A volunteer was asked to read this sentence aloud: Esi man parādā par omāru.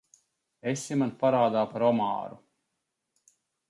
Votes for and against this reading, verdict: 2, 0, accepted